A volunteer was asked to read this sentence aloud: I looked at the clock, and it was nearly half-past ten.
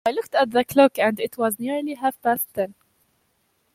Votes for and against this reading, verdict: 2, 0, accepted